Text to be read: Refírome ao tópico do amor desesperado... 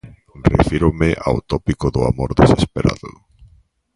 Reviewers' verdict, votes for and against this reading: accepted, 2, 0